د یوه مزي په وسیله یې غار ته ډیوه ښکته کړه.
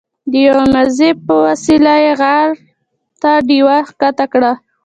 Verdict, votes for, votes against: accepted, 2, 0